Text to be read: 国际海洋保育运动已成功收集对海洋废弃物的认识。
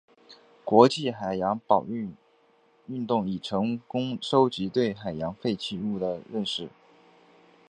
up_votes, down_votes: 3, 0